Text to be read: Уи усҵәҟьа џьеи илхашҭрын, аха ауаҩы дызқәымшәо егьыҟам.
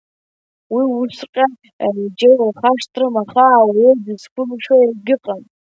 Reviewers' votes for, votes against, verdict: 2, 0, accepted